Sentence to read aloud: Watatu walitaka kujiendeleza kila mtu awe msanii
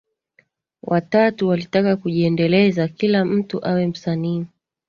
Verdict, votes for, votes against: accepted, 2, 0